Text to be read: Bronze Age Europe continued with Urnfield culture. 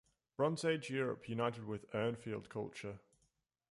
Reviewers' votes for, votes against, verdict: 0, 2, rejected